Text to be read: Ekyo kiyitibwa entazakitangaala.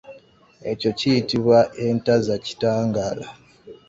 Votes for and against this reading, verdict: 2, 0, accepted